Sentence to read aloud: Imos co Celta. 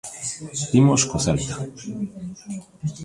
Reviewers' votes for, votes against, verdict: 1, 2, rejected